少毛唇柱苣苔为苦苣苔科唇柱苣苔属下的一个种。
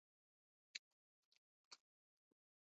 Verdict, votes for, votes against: rejected, 0, 2